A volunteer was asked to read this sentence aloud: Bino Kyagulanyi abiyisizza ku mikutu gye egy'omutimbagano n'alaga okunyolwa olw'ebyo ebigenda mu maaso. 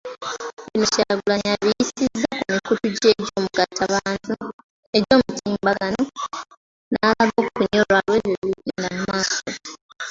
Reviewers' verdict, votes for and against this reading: rejected, 0, 2